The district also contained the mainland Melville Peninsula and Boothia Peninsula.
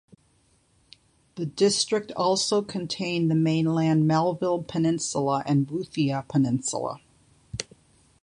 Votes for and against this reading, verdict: 2, 0, accepted